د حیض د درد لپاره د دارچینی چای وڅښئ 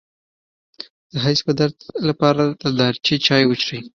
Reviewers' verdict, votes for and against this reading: rejected, 1, 2